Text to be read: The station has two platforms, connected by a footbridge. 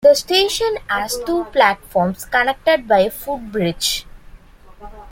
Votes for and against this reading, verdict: 2, 0, accepted